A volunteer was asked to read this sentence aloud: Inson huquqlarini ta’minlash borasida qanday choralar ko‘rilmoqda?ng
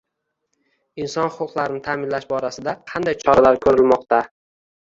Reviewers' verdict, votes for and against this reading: rejected, 1, 2